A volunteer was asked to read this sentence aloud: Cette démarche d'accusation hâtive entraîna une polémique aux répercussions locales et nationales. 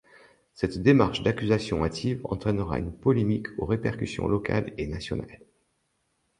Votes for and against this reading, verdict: 0, 2, rejected